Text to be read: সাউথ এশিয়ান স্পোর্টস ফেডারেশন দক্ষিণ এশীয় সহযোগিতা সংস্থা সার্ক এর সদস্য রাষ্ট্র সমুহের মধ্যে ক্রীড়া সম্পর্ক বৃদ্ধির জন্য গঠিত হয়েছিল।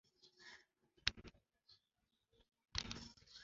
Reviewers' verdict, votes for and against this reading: rejected, 0, 2